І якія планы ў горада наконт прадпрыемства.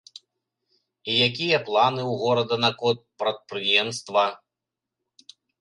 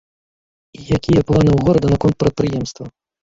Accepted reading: first